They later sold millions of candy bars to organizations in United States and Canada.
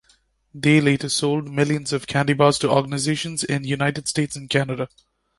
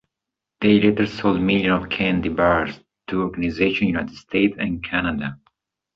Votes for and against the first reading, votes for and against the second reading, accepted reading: 2, 0, 1, 2, first